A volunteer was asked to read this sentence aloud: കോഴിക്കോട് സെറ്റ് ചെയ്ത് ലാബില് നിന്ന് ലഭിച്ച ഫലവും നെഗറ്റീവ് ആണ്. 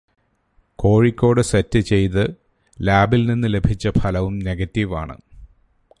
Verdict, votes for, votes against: accepted, 2, 0